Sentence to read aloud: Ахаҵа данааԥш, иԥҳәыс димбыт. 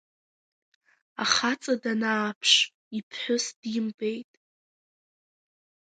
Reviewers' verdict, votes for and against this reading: accepted, 2, 0